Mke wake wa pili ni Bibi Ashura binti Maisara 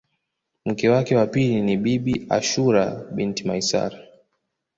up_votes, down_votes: 2, 0